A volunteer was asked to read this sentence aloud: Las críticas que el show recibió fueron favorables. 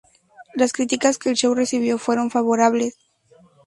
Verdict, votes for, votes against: accepted, 2, 0